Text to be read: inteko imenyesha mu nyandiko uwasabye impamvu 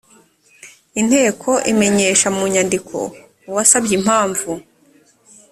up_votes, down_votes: 2, 0